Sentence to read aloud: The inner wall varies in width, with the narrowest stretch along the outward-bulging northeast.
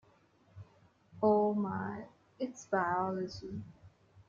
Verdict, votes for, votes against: rejected, 0, 2